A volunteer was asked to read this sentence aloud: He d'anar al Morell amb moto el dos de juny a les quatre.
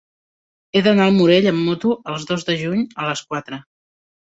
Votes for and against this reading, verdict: 1, 2, rejected